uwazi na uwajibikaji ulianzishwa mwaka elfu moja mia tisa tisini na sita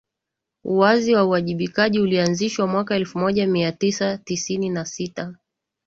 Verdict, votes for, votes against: accepted, 2, 0